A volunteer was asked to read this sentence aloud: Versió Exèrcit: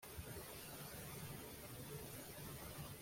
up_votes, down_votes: 0, 2